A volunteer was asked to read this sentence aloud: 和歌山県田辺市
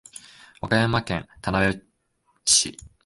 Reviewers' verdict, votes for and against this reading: rejected, 0, 2